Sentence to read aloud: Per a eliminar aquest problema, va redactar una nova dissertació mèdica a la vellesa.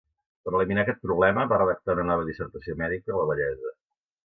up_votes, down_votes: 0, 2